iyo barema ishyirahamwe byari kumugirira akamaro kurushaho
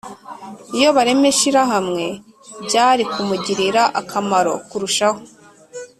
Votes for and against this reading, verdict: 2, 0, accepted